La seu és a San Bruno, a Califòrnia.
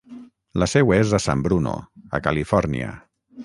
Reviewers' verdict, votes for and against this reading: rejected, 3, 3